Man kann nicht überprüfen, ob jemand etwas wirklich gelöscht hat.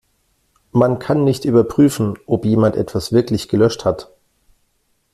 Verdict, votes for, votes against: accepted, 2, 0